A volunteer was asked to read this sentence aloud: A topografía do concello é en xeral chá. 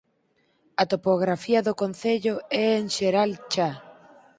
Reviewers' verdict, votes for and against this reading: accepted, 4, 0